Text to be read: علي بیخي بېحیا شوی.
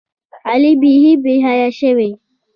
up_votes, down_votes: 2, 1